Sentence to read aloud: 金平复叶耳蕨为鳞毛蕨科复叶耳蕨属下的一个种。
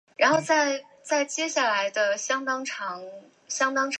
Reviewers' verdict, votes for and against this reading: rejected, 0, 3